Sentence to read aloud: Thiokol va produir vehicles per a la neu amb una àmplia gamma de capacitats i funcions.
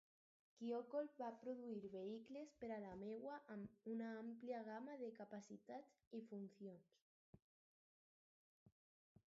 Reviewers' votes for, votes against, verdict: 2, 4, rejected